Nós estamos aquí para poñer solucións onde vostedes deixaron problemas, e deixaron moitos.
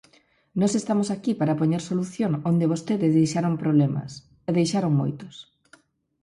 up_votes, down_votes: 2, 4